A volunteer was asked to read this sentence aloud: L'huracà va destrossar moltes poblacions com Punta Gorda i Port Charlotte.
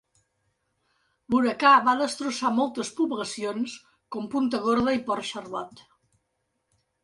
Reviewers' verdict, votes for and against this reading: accepted, 3, 0